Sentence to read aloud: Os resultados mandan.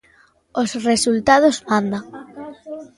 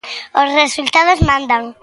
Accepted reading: second